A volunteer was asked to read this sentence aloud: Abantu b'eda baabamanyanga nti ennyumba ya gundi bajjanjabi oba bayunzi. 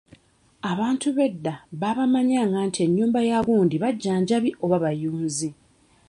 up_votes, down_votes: 2, 0